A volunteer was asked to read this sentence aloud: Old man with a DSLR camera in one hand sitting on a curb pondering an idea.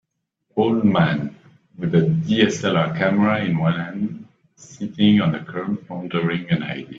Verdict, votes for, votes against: rejected, 1, 2